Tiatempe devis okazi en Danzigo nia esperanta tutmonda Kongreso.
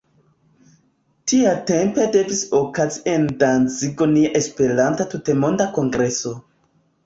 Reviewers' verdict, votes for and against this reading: rejected, 1, 2